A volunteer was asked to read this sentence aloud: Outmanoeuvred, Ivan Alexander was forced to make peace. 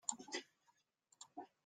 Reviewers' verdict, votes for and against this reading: rejected, 0, 2